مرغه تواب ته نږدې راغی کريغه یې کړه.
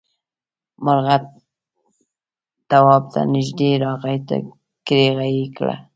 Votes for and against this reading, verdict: 1, 2, rejected